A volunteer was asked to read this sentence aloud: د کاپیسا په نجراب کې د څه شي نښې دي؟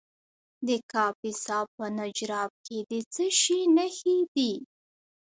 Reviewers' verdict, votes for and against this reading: rejected, 1, 2